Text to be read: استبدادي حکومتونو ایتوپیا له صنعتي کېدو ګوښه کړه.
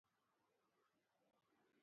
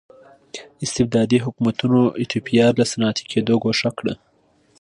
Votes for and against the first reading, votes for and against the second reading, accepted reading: 0, 2, 2, 0, second